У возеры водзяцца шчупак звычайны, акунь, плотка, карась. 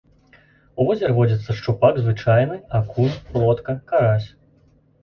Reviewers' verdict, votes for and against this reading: accepted, 2, 0